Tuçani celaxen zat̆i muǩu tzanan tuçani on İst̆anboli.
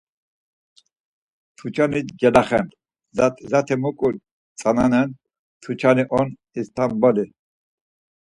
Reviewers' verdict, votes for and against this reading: rejected, 2, 4